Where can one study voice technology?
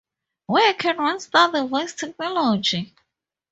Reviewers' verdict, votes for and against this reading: accepted, 2, 0